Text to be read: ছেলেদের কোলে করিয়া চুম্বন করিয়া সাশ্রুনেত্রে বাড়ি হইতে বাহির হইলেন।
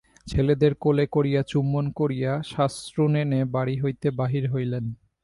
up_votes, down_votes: 0, 2